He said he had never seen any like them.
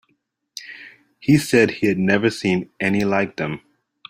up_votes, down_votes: 2, 0